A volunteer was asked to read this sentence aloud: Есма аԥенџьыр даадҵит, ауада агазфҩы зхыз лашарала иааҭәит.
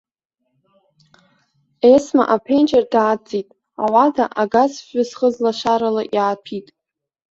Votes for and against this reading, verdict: 2, 0, accepted